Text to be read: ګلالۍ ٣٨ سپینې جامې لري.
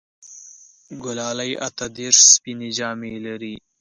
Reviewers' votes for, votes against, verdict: 0, 2, rejected